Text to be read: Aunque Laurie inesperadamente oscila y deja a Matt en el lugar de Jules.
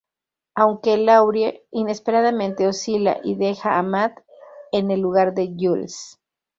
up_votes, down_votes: 2, 0